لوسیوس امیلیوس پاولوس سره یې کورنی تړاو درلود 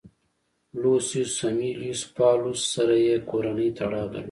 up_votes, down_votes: 1, 2